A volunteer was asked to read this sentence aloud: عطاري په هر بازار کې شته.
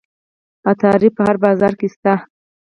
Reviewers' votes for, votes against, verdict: 0, 4, rejected